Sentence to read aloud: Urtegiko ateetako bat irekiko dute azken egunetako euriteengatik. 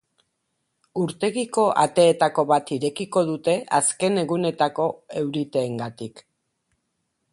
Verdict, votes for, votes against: accepted, 6, 0